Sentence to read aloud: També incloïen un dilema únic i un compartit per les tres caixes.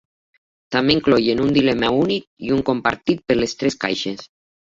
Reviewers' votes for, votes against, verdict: 2, 0, accepted